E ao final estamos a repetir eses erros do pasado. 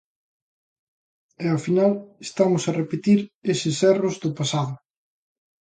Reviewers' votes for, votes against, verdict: 2, 0, accepted